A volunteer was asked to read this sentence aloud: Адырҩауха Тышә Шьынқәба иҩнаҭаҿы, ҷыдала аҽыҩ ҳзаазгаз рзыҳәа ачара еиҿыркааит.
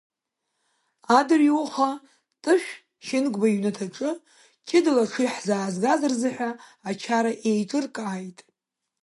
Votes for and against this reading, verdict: 2, 0, accepted